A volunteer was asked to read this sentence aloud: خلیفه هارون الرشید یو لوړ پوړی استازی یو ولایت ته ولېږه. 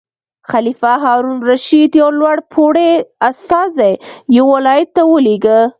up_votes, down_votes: 2, 0